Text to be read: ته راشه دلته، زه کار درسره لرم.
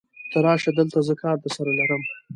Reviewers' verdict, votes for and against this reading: accepted, 2, 0